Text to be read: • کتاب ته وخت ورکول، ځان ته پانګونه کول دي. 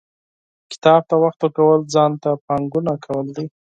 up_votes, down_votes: 2, 4